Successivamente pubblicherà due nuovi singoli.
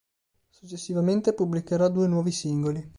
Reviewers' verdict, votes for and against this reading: accepted, 4, 0